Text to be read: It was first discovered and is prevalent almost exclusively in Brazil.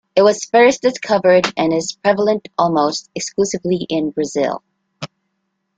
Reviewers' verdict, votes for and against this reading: accepted, 2, 0